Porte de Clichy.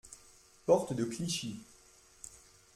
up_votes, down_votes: 2, 0